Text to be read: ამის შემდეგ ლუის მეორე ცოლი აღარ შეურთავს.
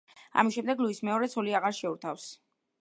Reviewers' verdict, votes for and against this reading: rejected, 1, 2